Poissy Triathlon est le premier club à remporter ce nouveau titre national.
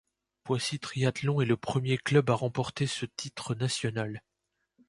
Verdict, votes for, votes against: rejected, 0, 2